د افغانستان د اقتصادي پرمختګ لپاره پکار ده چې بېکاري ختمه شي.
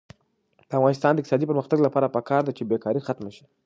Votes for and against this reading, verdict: 2, 0, accepted